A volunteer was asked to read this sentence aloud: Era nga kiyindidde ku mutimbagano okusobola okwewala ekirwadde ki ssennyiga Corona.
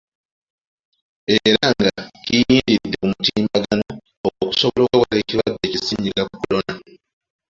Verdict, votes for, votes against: rejected, 1, 2